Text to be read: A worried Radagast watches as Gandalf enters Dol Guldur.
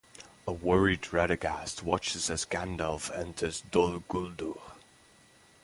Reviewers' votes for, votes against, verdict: 0, 2, rejected